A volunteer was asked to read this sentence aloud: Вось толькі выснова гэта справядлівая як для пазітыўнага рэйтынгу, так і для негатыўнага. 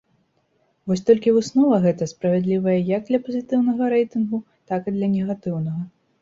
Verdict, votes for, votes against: accepted, 2, 0